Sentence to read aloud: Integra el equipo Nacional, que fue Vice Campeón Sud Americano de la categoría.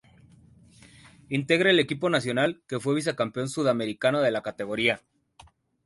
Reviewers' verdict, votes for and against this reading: accepted, 9, 3